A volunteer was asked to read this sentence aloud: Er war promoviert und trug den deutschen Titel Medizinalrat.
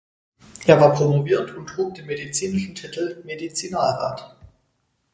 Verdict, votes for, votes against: rejected, 0, 4